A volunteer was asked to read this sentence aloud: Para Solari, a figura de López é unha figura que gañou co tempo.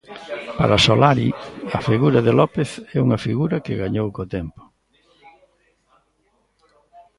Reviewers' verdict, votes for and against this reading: rejected, 1, 2